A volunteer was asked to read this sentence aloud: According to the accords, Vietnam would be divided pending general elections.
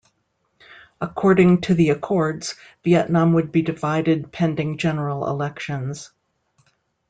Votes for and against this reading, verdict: 2, 0, accepted